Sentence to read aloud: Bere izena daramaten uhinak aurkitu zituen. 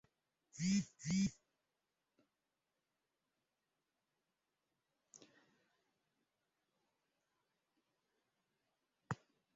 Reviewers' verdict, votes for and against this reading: rejected, 0, 3